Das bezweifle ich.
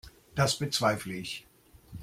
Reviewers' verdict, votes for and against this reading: accepted, 2, 0